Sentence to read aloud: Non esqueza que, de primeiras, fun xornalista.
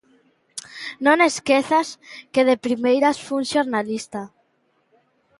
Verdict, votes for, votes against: rejected, 0, 2